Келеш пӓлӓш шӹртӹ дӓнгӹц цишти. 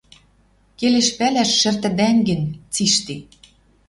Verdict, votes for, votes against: rejected, 0, 2